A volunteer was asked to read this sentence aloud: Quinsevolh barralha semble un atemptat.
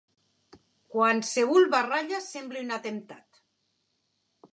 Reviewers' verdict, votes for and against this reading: rejected, 0, 2